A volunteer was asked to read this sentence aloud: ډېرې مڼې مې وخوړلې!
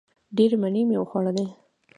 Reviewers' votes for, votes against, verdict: 2, 1, accepted